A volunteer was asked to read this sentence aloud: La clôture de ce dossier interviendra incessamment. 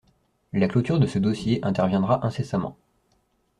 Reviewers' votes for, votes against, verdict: 2, 0, accepted